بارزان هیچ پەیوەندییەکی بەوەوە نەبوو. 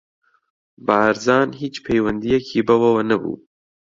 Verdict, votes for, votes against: accepted, 2, 0